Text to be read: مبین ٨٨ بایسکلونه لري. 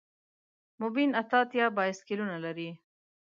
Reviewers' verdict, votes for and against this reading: rejected, 0, 2